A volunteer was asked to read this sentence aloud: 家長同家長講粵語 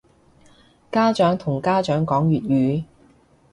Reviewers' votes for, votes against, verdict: 2, 0, accepted